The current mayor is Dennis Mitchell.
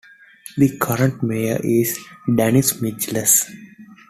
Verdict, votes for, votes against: rejected, 0, 2